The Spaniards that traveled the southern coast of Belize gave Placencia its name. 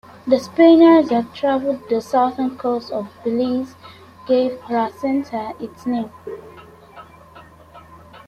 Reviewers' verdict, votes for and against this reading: accepted, 2, 1